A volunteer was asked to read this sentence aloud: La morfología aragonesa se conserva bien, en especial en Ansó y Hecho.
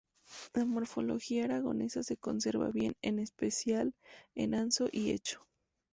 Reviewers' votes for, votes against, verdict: 2, 2, rejected